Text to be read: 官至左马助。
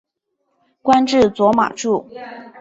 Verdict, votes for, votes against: accepted, 2, 0